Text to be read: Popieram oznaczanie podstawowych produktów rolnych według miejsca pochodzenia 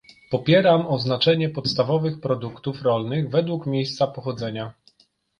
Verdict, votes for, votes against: rejected, 1, 2